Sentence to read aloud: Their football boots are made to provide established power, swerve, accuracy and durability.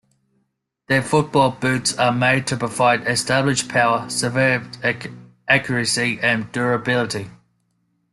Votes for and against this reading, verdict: 0, 2, rejected